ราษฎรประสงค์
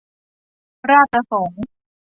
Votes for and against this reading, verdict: 1, 2, rejected